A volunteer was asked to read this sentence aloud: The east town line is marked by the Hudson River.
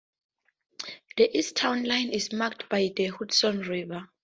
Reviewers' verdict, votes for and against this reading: accepted, 4, 0